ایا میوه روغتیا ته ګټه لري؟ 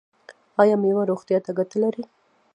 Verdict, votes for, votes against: accepted, 2, 1